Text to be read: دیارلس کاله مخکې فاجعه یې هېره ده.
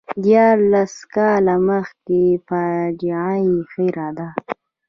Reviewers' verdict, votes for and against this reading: accepted, 2, 0